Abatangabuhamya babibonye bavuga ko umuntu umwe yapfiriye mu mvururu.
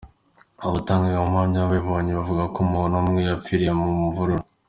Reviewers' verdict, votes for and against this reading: accepted, 2, 0